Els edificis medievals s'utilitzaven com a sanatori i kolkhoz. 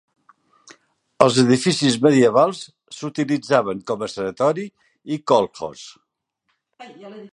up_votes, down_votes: 2, 0